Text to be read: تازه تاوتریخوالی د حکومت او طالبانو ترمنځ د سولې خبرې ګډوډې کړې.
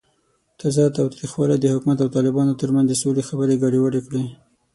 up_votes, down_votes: 6, 0